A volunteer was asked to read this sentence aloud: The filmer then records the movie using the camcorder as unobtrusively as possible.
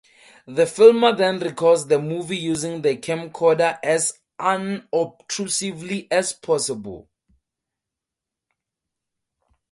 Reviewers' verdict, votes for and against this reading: accepted, 4, 0